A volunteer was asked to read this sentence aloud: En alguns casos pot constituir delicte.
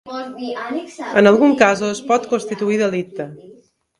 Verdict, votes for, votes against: rejected, 1, 2